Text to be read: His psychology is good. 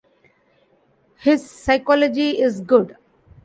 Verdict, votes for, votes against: accepted, 2, 0